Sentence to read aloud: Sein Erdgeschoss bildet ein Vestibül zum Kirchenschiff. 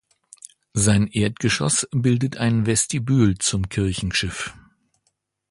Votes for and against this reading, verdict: 2, 0, accepted